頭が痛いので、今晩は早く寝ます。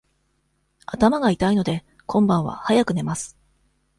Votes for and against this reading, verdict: 2, 0, accepted